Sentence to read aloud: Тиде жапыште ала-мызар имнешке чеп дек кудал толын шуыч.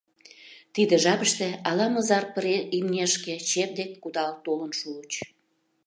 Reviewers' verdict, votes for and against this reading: rejected, 0, 2